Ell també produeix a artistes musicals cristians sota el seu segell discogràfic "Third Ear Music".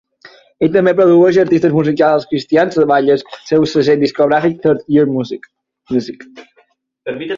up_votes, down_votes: 2, 6